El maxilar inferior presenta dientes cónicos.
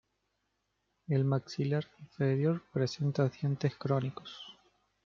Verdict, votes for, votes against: rejected, 0, 2